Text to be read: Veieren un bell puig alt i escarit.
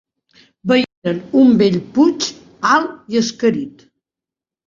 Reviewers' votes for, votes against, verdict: 0, 4, rejected